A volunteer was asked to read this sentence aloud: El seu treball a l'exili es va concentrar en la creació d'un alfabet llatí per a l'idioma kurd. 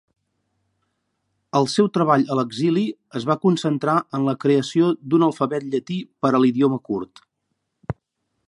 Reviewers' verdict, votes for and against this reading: accepted, 2, 0